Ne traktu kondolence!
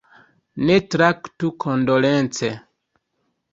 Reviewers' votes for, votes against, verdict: 2, 0, accepted